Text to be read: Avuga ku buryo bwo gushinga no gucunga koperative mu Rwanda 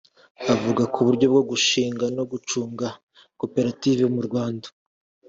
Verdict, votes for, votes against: accepted, 2, 0